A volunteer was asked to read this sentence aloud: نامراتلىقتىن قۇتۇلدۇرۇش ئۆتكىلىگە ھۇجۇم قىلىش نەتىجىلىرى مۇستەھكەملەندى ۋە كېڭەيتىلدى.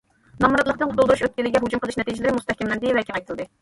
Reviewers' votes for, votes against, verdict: 2, 0, accepted